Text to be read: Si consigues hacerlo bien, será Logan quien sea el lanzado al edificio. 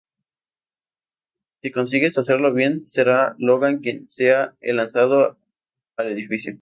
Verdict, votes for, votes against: accepted, 2, 0